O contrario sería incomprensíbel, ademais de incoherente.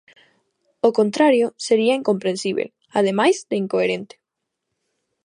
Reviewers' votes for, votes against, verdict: 2, 0, accepted